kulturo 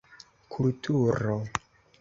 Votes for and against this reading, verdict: 2, 0, accepted